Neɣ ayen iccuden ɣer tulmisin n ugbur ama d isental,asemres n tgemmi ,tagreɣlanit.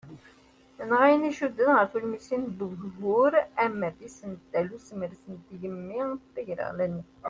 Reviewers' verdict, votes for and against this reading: rejected, 0, 2